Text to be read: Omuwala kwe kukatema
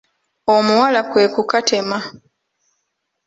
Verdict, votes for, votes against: accepted, 2, 0